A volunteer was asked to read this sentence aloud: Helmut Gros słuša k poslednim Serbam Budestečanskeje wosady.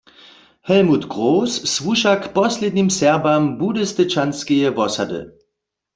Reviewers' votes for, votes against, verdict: 1, 2, rejected